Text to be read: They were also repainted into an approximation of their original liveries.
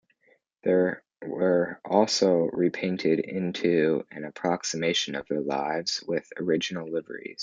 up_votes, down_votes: 0, 2